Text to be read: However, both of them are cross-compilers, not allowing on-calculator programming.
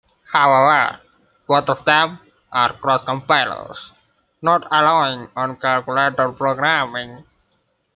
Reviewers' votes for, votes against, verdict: 0, 2, rejected